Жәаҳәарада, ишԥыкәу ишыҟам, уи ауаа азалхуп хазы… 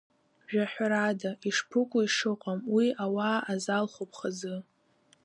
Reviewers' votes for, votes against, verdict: 1, 2, rejected